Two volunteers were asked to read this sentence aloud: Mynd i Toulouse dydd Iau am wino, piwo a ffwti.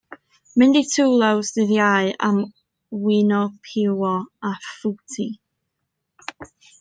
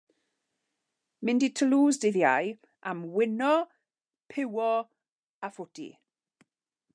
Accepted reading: second